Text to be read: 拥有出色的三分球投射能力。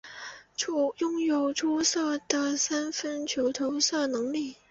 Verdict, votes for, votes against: rejected, 1, 2